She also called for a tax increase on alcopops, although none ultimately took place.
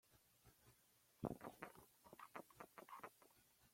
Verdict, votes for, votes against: rejected, 0, 2